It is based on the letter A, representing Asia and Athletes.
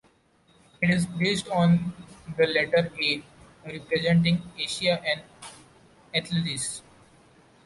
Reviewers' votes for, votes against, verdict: 1, 2, rejected